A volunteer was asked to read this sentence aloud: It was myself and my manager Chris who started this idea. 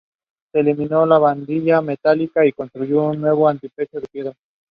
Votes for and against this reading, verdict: 0, 2, rejected